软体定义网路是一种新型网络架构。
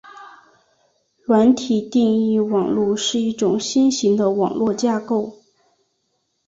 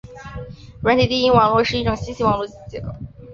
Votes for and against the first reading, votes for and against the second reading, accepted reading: 2, 1, 1, 3, first